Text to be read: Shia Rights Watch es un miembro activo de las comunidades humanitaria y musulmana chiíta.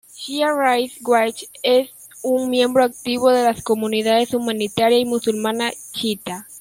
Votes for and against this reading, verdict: 1, 2, rejected